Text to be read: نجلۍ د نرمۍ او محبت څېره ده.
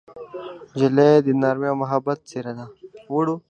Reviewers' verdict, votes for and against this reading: rejected, 1, 2